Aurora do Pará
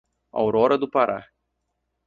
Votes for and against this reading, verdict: 4, 0, accepted